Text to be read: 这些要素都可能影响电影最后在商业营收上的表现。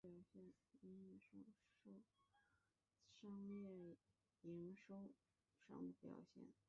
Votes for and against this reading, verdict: 0, 2, rejected